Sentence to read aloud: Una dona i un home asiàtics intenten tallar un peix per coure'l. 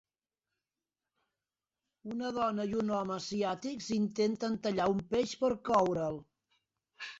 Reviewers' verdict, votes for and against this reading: accepted, 3, 0